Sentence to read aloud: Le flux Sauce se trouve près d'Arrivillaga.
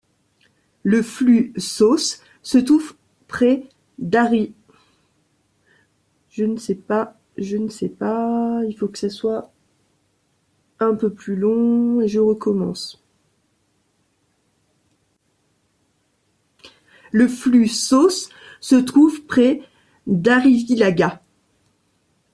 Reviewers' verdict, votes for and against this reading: rejected, 0, 2